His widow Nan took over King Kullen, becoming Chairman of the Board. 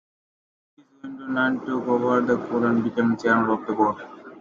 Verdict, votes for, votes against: rejected, 0, 2